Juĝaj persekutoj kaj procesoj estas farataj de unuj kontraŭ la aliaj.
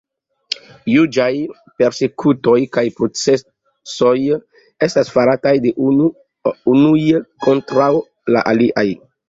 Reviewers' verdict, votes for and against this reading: rejected, 2, 3